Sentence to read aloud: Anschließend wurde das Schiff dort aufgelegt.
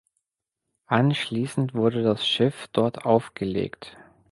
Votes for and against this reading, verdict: 2, 0, accepted